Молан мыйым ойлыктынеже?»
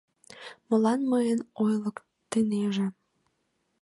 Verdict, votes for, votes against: rejected, 0, 2